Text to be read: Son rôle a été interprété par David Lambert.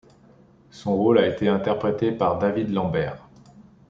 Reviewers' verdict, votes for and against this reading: accepted, 3, 0